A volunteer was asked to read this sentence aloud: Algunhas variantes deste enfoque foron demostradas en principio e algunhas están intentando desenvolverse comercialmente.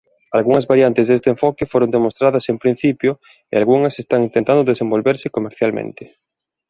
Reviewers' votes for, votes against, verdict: 1, 2, rejected